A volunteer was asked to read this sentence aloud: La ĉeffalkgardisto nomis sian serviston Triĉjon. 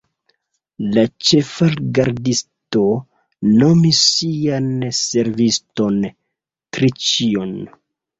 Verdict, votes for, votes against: rejected, 1, 2